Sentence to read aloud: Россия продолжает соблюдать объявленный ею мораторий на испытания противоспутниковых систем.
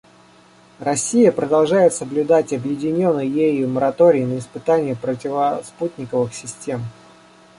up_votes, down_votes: 0, 2